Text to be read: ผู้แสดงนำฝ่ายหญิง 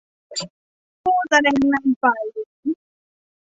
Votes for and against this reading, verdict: 2, 0, accepted